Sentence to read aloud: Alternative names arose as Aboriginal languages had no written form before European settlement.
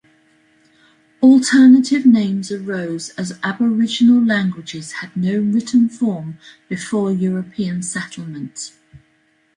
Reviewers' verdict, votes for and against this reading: accepted, 2, 0